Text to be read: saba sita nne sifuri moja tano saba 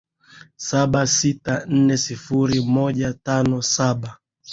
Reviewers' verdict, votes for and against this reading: accepted, 3, 0